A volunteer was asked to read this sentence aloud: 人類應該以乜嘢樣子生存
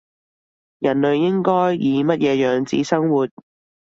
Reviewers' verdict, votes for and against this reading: rejected, 0, 2